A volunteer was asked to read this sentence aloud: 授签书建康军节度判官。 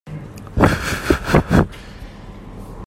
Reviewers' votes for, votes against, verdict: 0, 2, rejected